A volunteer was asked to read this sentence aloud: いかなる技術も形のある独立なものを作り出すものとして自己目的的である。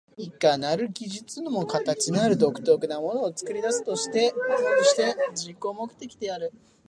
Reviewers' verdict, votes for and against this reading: rejected, 1, 2